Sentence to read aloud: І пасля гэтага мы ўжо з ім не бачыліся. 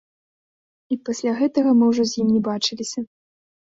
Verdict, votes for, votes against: accepted, 2, 0